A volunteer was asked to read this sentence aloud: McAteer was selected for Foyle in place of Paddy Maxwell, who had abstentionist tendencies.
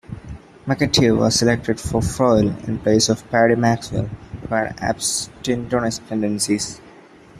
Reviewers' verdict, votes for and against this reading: rejected, 0, 2